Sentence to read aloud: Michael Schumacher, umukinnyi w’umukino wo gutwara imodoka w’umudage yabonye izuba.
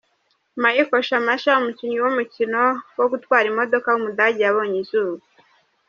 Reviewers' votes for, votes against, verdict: 2, 0, accepted